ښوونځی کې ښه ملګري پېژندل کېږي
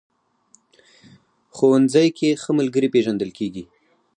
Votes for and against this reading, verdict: 2, 0, accepted